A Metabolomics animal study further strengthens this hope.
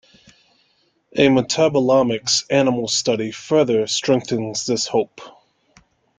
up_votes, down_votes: 2, 0